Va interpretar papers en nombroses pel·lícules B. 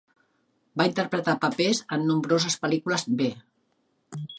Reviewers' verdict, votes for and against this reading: accepted, 3, 1